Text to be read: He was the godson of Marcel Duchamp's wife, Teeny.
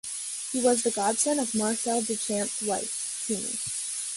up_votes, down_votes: 2, 0